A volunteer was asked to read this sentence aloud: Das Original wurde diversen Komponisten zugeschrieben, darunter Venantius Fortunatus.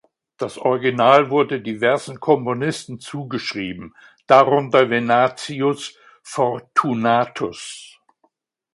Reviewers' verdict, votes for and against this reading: accepted, 2, 1